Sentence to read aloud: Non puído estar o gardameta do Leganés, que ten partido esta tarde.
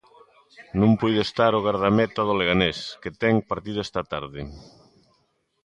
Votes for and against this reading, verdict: 3, 1, accepted